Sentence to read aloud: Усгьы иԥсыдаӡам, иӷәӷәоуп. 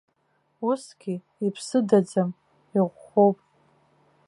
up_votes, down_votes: 2, 0